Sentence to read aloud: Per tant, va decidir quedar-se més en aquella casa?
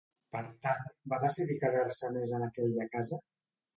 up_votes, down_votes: 2, 0